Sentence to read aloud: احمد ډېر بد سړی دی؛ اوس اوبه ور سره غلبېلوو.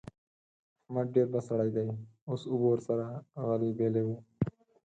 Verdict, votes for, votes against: accepted, 4, 2